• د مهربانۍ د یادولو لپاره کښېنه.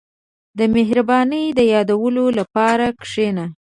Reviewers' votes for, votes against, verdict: 2, 0, accepted